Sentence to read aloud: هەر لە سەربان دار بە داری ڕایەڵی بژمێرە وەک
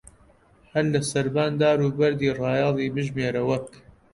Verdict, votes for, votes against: rejected, 0, 2